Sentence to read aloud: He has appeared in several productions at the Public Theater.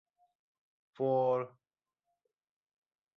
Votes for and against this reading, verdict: 0, 2, rejected